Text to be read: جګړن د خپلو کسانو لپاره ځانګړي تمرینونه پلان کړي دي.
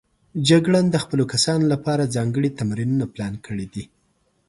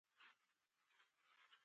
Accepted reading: first